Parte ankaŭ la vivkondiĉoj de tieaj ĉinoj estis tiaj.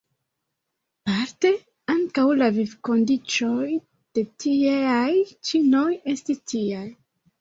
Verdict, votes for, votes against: accepted, 2, 0